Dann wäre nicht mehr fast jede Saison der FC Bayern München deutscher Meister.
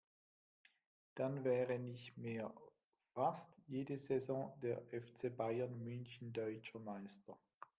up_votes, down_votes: 1, 2